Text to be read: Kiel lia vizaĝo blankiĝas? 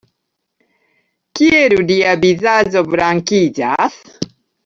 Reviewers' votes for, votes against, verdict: 1, 2, rejected